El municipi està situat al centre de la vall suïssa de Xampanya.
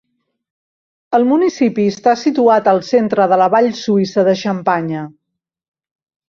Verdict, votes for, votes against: accepted, 3, 0